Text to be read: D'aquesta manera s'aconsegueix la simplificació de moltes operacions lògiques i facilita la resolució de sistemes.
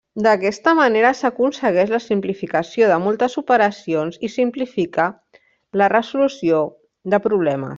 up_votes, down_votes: 0, 2